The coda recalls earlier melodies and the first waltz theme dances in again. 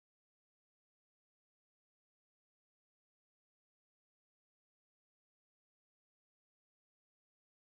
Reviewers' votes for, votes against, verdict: 0, 2, rejected